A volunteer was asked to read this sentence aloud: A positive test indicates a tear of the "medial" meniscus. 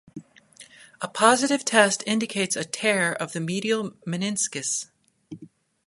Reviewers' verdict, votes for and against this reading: rejected, 0, 2